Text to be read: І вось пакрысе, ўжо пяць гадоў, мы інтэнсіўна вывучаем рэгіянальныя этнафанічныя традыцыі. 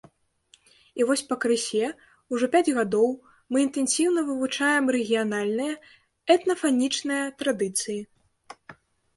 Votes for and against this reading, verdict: 2, 0, accepted